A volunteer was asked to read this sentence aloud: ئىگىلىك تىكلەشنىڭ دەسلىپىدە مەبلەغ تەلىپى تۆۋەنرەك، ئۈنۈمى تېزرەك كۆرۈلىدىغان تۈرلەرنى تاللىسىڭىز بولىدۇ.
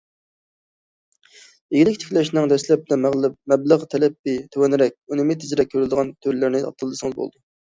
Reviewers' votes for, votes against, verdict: 0, 2, rejected